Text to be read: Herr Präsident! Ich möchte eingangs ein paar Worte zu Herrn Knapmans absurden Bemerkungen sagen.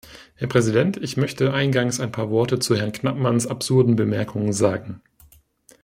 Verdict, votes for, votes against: accepted, 2, 0